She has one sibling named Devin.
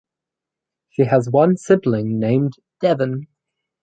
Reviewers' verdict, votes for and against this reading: rejected, 2, 2